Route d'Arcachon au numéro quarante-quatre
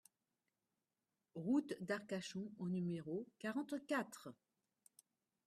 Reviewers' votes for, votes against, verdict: 2, 0, accepted